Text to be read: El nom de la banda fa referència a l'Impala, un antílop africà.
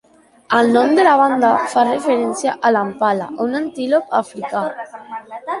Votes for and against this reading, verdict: 0, 2, rejected